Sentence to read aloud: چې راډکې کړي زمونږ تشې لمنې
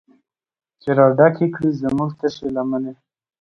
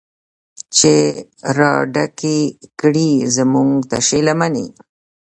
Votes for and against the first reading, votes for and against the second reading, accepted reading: 2, 0, 1, 2, first